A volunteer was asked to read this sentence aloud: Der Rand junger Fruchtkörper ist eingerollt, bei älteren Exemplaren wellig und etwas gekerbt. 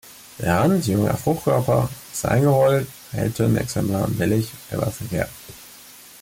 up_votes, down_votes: 1, 2